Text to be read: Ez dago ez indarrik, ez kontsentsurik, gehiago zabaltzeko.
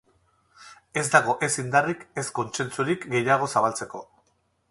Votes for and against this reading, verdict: 4, 0, accepted